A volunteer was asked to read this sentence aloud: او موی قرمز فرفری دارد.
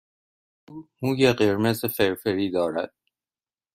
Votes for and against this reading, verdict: 1, 2, rejected